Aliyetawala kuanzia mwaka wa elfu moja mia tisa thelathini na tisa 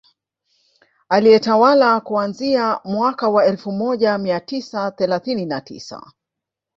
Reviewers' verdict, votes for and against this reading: rejected, 1, 2